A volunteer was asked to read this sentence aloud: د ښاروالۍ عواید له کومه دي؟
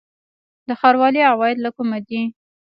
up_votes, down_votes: 1, 2